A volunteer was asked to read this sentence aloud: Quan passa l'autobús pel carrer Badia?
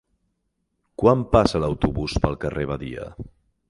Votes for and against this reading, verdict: 6, 0, accepted